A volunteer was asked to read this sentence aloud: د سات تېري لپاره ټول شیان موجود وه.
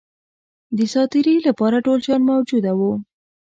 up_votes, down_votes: 0, 2